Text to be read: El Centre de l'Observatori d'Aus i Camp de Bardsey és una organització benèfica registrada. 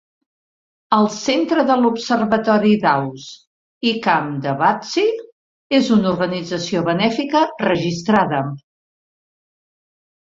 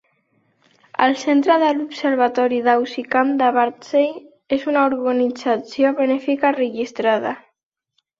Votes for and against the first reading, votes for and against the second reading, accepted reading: 3, 0, 1, 2, first